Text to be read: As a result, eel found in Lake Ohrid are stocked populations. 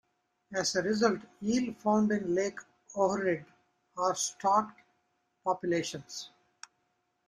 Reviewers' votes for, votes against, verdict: 2, 0, accepted